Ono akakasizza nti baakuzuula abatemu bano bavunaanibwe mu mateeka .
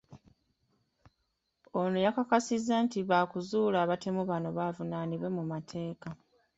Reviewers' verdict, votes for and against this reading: rejected, 1, 2